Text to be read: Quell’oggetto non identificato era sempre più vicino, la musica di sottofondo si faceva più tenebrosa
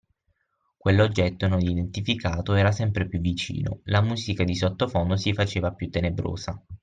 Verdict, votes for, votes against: accepted, 6, 0